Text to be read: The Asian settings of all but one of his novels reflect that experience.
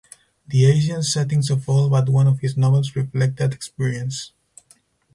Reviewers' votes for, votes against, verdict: 2, 2, rejected